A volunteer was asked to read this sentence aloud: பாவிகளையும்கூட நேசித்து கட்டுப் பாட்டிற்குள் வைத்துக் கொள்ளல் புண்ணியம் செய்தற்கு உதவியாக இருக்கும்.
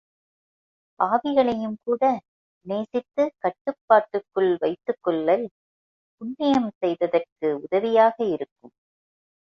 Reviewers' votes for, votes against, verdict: 1, 2, rejected